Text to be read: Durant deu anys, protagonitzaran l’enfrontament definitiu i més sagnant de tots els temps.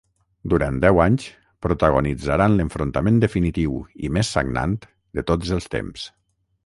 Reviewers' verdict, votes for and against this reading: rejected, 3, 3